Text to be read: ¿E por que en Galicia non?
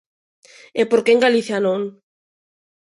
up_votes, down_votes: 2, 0